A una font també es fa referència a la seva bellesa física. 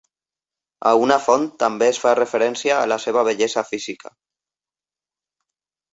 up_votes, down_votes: 0, 2